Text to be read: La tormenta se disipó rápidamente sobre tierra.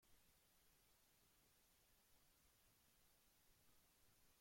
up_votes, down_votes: 0, 2